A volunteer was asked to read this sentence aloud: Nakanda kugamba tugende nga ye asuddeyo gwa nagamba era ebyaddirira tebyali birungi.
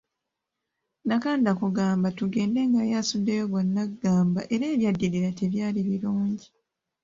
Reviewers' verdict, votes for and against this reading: accepted, 2, 0